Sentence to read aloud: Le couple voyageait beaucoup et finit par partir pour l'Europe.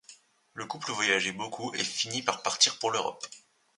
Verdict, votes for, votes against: accepted, 2, 0